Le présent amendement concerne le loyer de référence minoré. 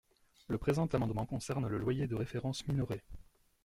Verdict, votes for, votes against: accepted, 2, 0